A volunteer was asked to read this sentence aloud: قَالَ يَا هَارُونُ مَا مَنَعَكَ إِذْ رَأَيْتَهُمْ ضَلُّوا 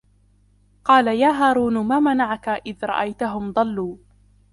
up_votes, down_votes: 1, 2